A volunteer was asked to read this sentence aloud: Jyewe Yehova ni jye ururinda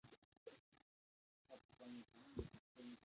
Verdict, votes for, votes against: rejected, 0, 2